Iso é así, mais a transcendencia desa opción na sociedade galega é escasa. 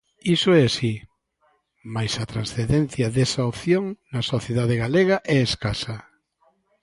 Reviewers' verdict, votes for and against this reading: accepted, 2, 0